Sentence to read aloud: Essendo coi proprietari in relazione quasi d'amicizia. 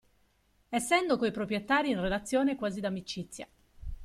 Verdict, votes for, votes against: accepted, 2, 0